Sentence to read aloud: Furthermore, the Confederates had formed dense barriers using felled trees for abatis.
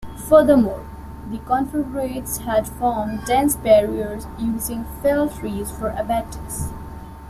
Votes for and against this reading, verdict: 1, 2, rejected